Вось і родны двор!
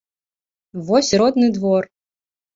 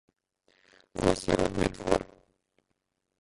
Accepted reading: first